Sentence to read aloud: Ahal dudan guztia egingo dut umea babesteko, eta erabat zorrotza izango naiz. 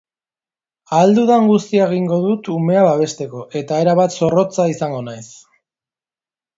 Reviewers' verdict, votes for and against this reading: accepted, 2, 0